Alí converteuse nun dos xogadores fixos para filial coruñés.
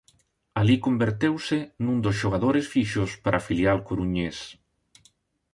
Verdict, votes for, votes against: accepted, 2, 0